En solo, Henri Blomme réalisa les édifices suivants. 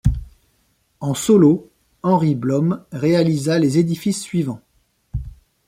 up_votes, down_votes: 2, 0